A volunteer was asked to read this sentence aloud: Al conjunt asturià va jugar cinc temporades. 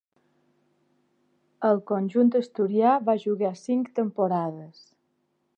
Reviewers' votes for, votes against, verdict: 2, 0, accepted